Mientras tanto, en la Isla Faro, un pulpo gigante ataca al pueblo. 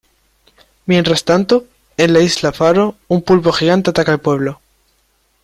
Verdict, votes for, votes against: accepted, 2, 0